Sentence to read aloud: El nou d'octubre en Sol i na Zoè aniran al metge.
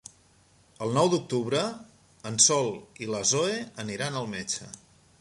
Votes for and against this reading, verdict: 2, 1, accepted